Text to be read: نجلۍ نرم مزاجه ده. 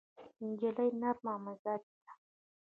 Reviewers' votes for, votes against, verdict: 0, 2, rejected